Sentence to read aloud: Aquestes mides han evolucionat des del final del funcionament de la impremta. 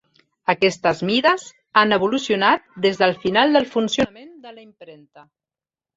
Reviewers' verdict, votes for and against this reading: rejected, 1, 2